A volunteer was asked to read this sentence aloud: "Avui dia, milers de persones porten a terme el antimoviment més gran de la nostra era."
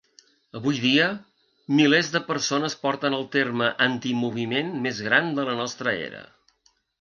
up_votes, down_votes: 1, 2